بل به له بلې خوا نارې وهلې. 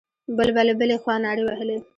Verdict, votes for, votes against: accepted, 2, 1